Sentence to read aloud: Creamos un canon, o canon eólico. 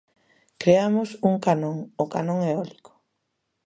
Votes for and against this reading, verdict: 2, 0, accepted